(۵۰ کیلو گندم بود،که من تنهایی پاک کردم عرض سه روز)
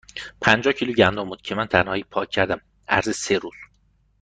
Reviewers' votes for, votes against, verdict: 0, 2, rejected